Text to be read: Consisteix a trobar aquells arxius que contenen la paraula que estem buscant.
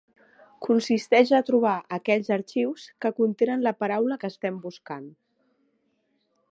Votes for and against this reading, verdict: 3, 0, accepted